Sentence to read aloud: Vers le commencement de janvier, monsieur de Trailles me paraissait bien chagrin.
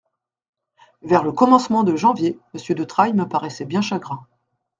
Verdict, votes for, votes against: accepted, 2, 0